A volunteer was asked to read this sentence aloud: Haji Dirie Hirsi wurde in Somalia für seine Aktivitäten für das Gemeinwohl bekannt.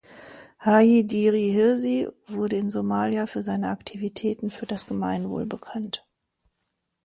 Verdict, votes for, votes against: accepted, 2, 1